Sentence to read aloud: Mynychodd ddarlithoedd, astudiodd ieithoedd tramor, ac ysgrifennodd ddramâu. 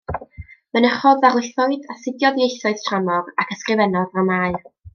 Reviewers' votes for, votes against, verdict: 2, 0, accepted